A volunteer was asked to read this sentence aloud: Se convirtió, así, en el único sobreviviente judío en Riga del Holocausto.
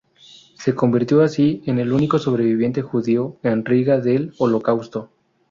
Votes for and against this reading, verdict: 2, 2, rejected